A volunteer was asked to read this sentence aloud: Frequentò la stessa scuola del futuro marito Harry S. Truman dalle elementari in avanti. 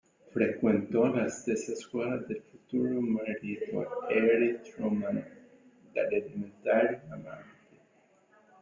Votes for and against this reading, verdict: 1, 2, rejected